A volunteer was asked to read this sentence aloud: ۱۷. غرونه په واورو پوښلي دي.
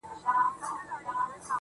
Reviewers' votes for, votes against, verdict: 0, 2, rejected